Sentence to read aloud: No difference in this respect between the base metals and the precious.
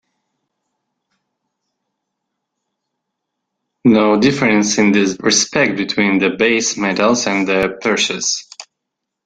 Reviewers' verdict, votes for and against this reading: accepted, 2, 1